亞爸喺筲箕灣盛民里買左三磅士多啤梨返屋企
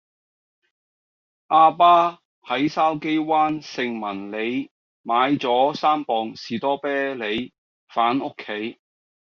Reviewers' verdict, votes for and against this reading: accepted, 2, 0